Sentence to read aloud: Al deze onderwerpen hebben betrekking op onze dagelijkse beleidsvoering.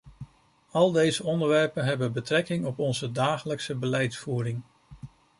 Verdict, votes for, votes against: accepted, 2, 0